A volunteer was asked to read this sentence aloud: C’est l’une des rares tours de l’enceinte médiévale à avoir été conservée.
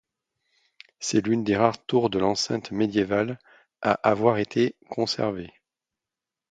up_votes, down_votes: 2, 0